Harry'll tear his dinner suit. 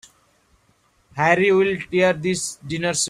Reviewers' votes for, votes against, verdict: 0, 3, rejected